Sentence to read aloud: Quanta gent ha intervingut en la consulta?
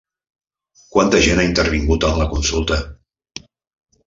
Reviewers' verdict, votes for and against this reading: accepted, 3, 0